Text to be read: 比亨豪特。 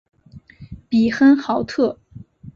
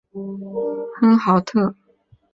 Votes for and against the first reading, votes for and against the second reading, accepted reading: 3, 0, 2, 3, first